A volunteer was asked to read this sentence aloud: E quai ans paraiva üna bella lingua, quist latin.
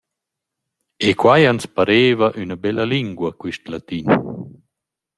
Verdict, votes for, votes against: rejected, 1, 2